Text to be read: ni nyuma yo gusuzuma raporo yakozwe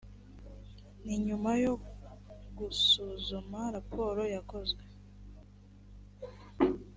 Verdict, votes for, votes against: accepted, 2, 0